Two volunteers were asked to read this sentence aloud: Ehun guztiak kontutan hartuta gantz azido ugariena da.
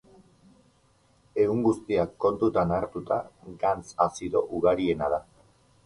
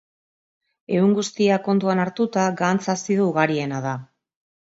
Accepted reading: first